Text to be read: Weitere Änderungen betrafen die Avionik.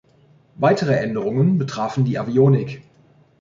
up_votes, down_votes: 2, 0